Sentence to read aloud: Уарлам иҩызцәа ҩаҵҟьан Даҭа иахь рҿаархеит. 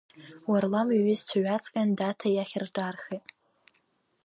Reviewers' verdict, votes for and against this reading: rejected, 1, 2